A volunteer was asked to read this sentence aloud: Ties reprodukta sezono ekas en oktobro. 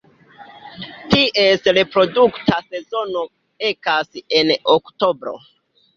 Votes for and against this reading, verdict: 2, 0, accepted